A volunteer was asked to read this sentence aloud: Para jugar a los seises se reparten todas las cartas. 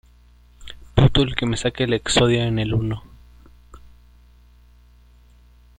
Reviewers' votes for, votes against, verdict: 0, 2, rejected